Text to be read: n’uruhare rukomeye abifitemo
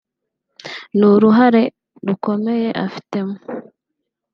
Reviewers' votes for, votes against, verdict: 0, 2, rejected